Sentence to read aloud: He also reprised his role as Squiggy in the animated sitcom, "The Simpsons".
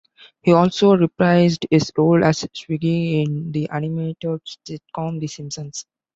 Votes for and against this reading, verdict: 1, 2, rejected